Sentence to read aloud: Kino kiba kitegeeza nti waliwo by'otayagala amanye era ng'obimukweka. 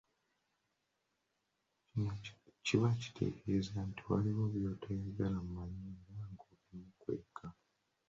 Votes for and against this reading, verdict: 0, 2, rejected